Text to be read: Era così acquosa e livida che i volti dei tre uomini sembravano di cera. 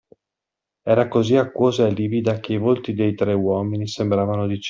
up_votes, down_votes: 0, 2